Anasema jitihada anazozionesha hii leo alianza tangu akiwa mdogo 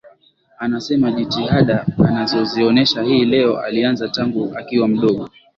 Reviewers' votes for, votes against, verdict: 9, 0, accepted